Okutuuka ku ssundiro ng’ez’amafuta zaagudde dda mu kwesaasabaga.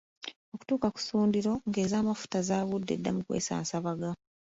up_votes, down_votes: 2, 0